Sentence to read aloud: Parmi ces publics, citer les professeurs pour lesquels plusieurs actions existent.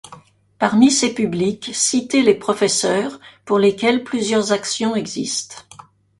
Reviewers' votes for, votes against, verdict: 2, 0, accepted